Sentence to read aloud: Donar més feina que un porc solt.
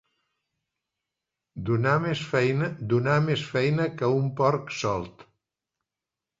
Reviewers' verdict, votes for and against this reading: rejected, 0, 2